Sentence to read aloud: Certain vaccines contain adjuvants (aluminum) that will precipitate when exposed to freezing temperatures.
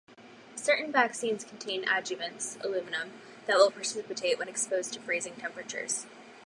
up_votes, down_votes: 4, 0